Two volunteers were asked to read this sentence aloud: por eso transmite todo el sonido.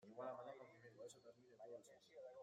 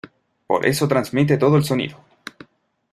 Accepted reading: second